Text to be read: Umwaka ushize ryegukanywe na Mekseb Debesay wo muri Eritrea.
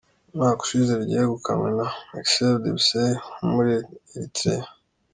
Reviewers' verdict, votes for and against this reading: accepted, 2, 0